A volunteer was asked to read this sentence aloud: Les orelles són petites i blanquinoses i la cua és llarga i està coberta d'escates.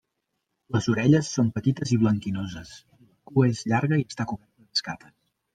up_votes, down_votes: 1, 2